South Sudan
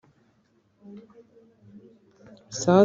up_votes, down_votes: 1, 2